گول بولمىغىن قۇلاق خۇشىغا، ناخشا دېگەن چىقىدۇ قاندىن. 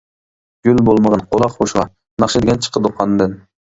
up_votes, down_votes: 0, 2